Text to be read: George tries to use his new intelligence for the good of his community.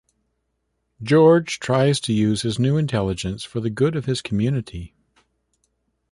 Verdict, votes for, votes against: accepted, 2, 0